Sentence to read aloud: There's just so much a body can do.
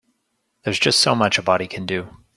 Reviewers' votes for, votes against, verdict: 2, 0, accepted